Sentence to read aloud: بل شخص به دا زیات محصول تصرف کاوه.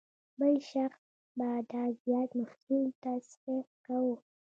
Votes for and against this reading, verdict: 1, 2, rejected